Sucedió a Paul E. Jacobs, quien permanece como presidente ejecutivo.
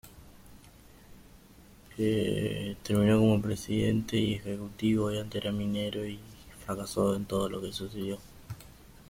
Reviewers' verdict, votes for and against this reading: rejected, 0, 2